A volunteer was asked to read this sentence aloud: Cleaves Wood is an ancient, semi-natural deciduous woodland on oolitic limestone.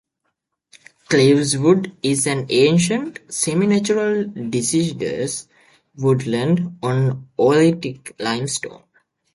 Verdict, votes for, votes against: accepted, 2, 0